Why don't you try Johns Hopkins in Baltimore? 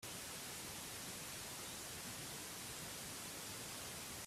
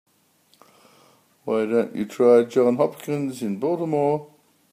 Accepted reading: second